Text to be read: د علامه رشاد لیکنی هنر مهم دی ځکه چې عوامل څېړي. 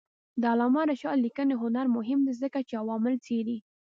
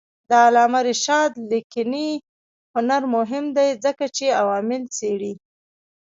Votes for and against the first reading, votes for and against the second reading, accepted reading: 2, 0, 0, 2, first